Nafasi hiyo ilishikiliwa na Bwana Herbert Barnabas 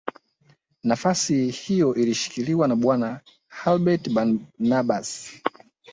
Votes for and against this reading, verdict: 4, 2, accepted